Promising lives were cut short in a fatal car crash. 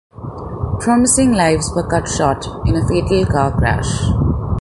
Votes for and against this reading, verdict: 2, 0, accepted